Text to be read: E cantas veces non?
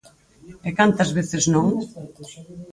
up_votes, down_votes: 2, 4